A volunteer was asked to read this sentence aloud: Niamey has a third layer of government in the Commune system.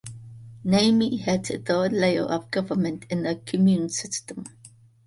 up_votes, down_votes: 2, 0